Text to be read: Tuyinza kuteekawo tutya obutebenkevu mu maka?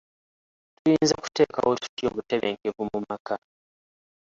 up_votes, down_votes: 1, 2